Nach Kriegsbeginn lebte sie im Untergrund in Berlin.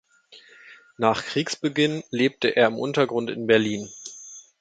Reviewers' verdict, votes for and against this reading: rejected, 0, 2